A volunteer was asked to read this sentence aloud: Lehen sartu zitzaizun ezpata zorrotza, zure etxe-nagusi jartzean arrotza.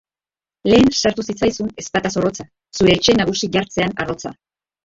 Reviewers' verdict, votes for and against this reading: rejected, 0, 2